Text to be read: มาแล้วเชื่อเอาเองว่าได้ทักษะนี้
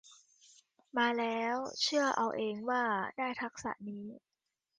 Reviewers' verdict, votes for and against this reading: accepted, 2, 0